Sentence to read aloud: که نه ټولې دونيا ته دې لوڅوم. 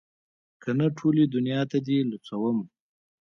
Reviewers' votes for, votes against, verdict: 0, 2, rejected